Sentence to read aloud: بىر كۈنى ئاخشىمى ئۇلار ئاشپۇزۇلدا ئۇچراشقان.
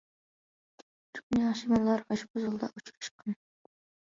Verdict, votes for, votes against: rejected, 0, 2